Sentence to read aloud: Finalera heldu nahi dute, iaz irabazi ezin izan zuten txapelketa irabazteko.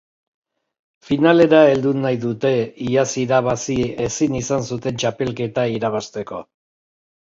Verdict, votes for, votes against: accepted, 3, 1